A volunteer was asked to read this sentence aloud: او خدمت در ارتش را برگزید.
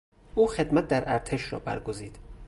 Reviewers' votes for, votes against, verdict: 2, 0, accepted